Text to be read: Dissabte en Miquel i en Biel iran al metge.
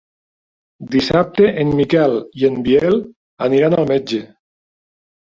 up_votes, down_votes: 0, 2